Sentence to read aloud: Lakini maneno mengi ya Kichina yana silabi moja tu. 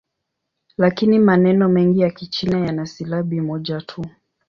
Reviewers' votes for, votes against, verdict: 3, 0, accepted